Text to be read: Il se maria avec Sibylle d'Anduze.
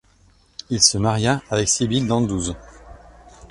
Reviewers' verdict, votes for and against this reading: accepted, 2, 1